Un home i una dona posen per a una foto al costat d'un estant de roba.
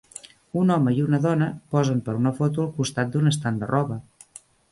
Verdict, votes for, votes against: accepted, 2, 0